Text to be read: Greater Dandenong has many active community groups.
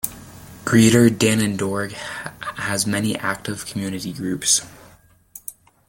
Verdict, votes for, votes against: rejected, 1, 2